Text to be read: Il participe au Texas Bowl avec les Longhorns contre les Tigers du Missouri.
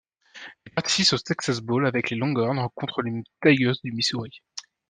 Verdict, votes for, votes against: rejected, 0, 2